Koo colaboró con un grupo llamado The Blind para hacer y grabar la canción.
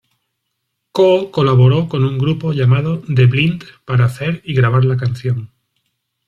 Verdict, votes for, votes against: rejected, 1, 2